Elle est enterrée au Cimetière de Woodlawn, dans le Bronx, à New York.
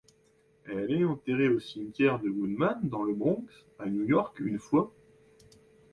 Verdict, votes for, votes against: rejected, 0, 2